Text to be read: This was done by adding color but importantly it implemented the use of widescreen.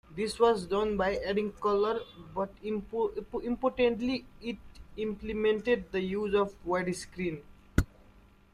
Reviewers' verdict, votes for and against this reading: rejected, 0, 2